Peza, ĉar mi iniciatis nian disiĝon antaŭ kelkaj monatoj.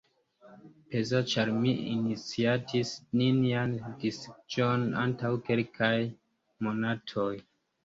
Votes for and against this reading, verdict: 0, 2, rejected